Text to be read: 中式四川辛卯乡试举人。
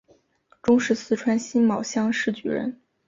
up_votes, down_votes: 3, 0